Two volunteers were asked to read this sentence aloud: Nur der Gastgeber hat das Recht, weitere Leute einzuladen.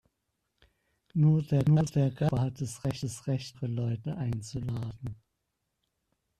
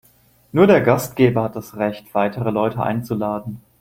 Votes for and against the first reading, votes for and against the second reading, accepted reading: 0, 2, 2, 0, second